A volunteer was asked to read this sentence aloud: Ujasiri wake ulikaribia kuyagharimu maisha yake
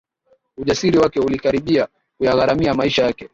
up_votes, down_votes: 0, 2